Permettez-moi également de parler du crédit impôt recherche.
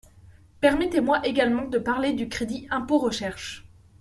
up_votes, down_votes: 2, 0